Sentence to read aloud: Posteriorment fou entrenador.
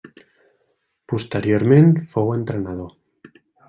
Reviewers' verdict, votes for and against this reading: accepted, 3, 0